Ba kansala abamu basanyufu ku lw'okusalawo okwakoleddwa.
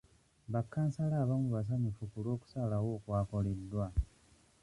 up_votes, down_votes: 1, 2